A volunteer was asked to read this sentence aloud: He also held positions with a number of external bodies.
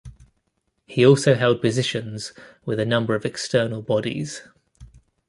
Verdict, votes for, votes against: accepted, 2, 0